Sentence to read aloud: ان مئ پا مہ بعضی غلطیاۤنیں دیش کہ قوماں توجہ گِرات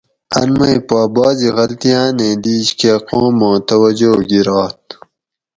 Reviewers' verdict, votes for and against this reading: rejected, 2, 4